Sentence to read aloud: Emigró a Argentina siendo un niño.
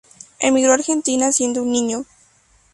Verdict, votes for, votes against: accepted, 2, 0